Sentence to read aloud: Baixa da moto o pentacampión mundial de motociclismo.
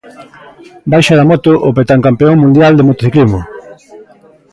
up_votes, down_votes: 0, 2